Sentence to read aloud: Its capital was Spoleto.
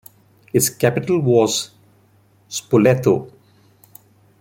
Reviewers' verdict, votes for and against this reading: accepted, 2, 0